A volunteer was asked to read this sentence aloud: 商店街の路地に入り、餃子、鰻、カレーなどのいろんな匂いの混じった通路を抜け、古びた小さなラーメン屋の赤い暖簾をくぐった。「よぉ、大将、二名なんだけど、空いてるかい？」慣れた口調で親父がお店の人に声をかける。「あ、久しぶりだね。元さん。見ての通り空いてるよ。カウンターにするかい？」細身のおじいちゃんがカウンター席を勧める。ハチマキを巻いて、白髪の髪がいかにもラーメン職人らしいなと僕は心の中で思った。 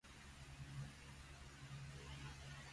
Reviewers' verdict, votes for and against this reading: rejected, 1, 2